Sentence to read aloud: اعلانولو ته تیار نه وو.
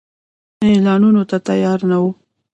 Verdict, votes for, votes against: rejected, 1, 2